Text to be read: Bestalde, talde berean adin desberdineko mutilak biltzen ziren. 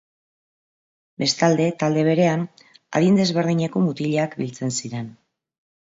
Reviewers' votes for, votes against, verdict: 5, 0, accepted